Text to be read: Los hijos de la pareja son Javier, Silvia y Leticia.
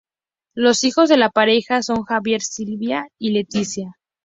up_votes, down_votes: 4, 0